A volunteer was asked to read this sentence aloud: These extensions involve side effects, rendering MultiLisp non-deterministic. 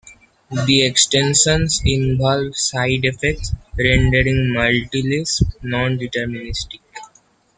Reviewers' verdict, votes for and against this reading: rejected, 1, 2